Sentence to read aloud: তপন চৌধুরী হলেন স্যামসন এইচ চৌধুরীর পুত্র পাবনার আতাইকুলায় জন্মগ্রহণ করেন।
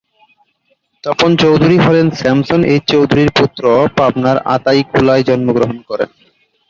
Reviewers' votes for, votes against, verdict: 2, 0, accepted